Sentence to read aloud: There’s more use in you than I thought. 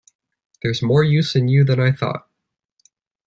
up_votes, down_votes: 2, 0